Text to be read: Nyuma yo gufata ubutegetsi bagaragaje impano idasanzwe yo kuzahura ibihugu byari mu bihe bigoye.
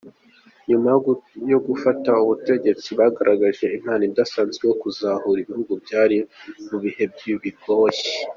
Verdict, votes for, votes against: accepted, 2, 0